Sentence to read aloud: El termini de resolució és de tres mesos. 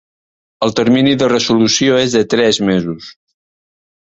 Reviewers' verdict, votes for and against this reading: accepted, 2, 0